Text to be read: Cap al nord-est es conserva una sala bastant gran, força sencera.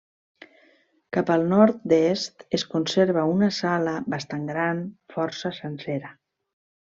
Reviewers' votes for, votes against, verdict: 3, 0, accepted